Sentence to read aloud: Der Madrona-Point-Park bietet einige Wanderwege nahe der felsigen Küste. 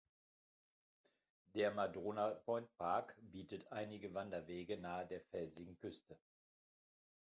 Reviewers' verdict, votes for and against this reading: accepted, 2, 0